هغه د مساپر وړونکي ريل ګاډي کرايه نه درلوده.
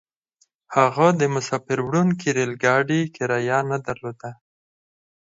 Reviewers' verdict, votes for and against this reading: accepted, 4, 0